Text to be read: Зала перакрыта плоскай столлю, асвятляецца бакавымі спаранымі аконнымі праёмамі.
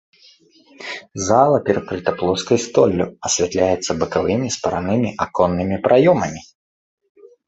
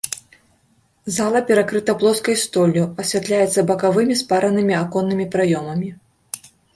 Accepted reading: second